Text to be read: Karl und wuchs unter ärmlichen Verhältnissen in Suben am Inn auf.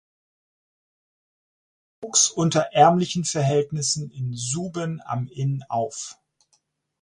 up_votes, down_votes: 0, 4